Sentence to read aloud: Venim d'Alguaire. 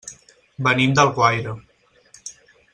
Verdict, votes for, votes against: accepted, 4, 0